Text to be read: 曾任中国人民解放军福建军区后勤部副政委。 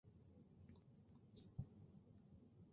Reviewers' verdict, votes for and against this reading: rejected, 1, 2